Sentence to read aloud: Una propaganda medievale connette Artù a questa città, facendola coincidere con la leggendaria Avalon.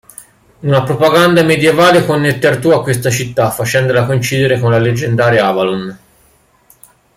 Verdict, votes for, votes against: accepted, 2, 0